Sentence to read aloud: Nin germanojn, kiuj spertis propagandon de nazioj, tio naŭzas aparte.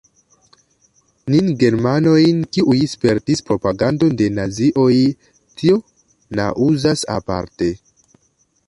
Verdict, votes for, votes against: accepted, 2, 0